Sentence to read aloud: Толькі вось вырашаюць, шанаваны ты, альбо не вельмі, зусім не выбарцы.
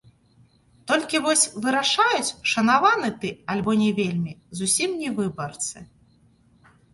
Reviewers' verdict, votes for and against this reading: rejected, 1, 2